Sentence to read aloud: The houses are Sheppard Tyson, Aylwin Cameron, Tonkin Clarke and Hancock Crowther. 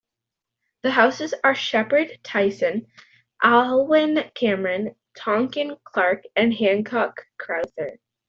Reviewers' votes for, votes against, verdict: 2, 0, accepted